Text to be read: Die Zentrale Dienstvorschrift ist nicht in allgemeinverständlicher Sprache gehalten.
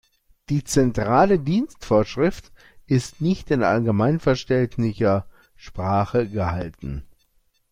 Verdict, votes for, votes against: rejected, 0, 2